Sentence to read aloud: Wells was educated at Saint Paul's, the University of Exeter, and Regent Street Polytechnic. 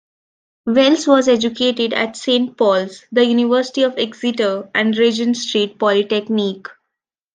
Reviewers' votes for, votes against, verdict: 2, 1, accepted